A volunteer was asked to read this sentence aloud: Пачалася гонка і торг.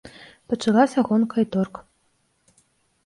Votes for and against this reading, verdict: 1, 2, rejected